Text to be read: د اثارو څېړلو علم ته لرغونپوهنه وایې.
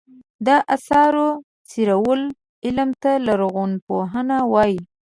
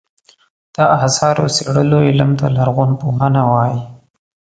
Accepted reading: second